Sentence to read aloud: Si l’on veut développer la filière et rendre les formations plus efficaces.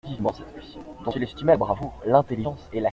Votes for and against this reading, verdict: 0, 2, rejected